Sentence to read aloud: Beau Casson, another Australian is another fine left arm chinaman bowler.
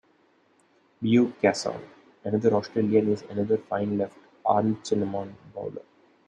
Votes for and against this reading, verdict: 2, 0, accepted